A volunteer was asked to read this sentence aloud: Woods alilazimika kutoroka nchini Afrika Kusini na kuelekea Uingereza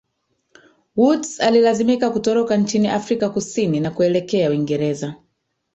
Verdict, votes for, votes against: rejected, 1, 2